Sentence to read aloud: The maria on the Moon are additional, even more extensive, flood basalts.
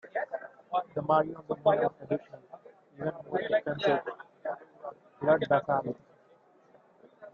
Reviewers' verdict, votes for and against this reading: rejected, 0, 2